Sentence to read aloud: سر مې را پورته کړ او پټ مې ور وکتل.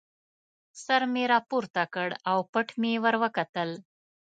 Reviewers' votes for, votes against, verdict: 3, 0, accepted